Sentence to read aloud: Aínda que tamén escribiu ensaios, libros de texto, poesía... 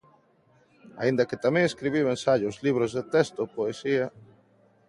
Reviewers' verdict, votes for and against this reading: accepted, 2, 1